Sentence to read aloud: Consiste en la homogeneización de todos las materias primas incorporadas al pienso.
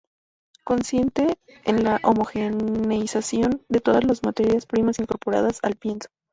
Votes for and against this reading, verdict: 0, 2, rejected